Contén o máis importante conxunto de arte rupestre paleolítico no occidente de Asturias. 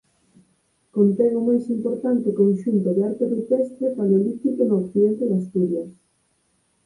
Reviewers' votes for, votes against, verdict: 2, 6, rejected